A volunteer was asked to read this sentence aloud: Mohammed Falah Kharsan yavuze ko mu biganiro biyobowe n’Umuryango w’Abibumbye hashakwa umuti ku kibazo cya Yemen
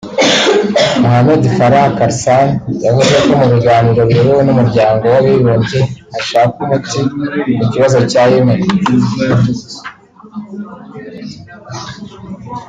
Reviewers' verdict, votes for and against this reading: rejected, 1, 2